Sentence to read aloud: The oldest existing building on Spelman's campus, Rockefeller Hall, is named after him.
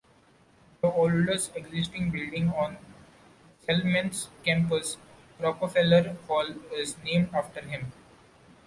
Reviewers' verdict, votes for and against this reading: accepted, 2, 0